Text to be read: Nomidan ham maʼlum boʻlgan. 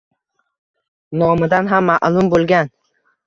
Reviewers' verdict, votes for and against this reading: accepted, 2, 0